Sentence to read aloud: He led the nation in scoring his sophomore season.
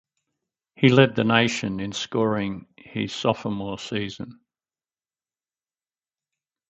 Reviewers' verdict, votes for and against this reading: accepted, 4, 0